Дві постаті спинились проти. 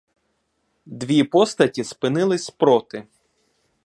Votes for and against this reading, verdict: 2, 0, accepted